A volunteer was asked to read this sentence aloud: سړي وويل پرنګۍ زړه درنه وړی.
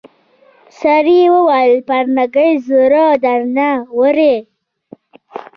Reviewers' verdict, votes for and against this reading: accepted, 2, 0